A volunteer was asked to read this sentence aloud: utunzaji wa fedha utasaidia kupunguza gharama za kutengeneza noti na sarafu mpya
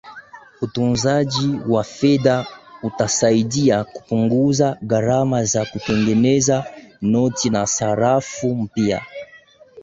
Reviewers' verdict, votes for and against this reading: rejected, 5, 5